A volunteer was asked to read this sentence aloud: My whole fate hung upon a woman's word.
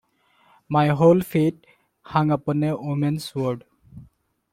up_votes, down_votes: 2, 0